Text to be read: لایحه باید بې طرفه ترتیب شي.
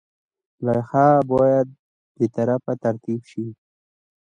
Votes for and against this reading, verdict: 2, 0, accepted